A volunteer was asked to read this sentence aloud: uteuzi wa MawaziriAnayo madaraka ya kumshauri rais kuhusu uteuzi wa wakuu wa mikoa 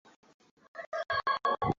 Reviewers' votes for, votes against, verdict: 0, 2, rejected